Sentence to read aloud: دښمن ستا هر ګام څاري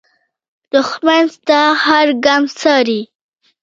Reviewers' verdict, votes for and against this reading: rejected, 1, 2